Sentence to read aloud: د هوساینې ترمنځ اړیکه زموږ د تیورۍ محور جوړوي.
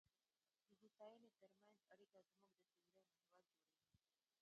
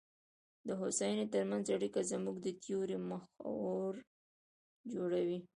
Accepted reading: second